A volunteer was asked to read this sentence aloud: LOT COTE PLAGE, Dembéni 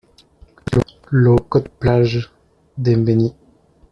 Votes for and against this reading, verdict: 1, 2, rejected